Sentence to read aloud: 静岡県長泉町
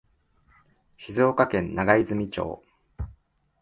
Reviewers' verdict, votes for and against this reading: accepted, 3, 0